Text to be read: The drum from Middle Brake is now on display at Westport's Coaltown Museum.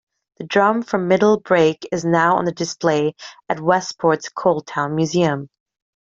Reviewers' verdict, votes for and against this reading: rejected, 0, 2